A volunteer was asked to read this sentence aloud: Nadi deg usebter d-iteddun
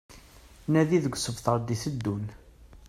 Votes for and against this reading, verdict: 1, 2, rejected